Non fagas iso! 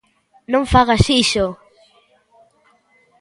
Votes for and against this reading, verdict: 2, 0, accepted